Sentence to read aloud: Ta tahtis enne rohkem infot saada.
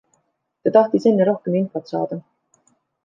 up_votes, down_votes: 2, 0